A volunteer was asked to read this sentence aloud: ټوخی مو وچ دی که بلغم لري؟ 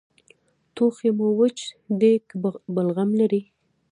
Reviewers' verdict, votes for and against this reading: rejected, 0, 2